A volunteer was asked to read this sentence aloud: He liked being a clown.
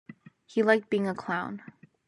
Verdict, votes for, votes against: accepted, 2, 0